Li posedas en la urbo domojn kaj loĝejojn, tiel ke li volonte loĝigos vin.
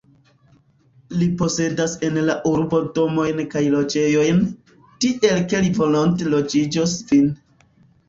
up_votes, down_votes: 0, 2